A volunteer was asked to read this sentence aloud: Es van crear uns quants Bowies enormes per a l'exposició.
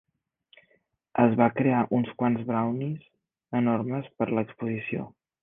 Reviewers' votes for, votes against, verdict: 0, 2, rejected